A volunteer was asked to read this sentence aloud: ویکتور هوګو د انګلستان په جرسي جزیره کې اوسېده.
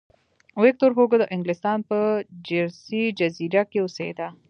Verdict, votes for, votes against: accepted, 2, 1